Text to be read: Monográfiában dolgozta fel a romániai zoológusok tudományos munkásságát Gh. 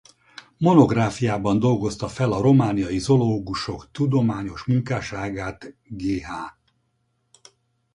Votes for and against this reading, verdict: 2, 2, rejected